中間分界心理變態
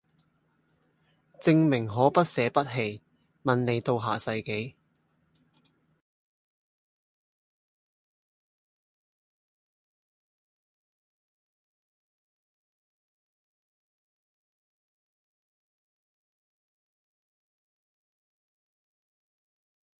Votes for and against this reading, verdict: 0, 2, rejected